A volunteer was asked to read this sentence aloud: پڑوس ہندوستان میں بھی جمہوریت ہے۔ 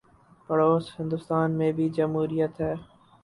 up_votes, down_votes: 0, 2